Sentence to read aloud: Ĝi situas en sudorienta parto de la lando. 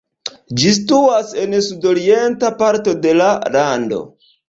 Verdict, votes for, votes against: accepted, 2, 0